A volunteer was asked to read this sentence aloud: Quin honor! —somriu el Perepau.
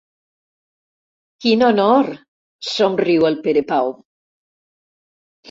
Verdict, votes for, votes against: accepted, 2, 0